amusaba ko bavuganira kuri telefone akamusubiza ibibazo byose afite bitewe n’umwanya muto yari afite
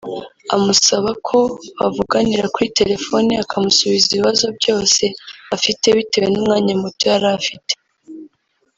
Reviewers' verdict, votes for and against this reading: rejected, 1, 2